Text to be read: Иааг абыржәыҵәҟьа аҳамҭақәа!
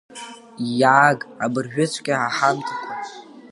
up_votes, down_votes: 3, 2